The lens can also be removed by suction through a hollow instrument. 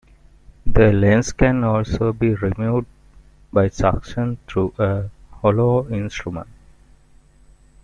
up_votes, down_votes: 2, 0